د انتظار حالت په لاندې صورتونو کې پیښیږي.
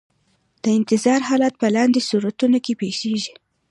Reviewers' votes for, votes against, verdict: 2, 0, accepted